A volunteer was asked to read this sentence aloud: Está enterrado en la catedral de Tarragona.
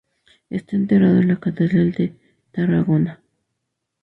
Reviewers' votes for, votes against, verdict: 2, 0, accepted